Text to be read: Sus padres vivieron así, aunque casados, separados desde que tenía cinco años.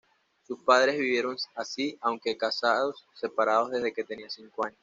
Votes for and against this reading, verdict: 2, 0, accepted